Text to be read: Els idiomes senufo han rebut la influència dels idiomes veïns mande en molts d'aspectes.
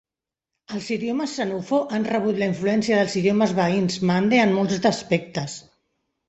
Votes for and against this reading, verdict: 1, 2, rejected